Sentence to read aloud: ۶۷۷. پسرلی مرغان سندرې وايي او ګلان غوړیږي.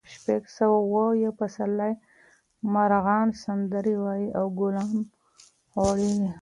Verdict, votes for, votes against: rejected, 0, 2